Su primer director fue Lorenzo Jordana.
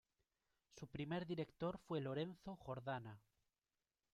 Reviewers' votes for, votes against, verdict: 1, 2, rejected